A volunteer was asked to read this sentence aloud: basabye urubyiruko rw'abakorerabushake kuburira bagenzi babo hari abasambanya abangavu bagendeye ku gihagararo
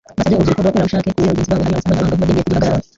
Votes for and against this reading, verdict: 0, 2, rejected